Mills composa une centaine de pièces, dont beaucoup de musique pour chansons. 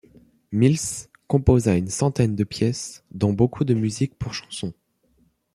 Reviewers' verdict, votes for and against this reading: accepted, 2, 0